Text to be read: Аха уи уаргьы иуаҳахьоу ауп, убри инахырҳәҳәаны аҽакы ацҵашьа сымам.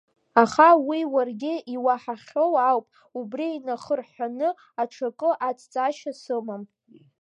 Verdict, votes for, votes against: rejected, 1, 2